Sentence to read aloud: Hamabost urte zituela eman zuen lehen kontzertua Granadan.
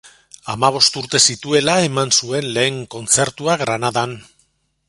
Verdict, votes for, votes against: accepted, 2, 0